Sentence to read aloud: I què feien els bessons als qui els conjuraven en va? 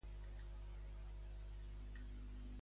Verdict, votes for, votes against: rejected, 0, 3